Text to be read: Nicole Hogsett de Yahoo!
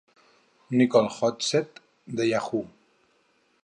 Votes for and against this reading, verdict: 4, 0, accepted